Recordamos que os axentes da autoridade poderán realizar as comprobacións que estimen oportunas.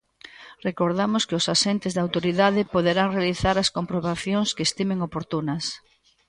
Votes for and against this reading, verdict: 2, 0, accepted